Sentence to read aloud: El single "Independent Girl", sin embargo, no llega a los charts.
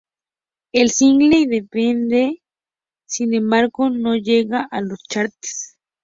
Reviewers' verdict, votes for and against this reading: rejected, 0, 2